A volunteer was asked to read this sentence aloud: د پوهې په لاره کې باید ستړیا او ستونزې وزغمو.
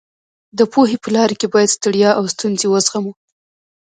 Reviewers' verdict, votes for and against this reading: rejected, 1, 2